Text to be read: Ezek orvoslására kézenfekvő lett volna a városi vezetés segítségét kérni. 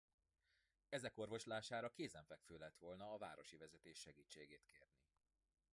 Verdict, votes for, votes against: rejected, 0, 2